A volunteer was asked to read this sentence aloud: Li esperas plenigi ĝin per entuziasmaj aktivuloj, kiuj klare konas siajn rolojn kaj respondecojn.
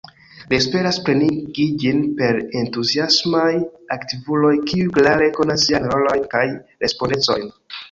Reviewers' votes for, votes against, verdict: 0, 2, rejected